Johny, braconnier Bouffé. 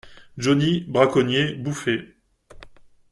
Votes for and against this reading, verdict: 2, 0, accepted